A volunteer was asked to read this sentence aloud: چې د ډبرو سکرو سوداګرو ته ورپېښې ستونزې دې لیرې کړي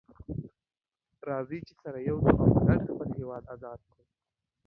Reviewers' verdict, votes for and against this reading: rejected, 0, 2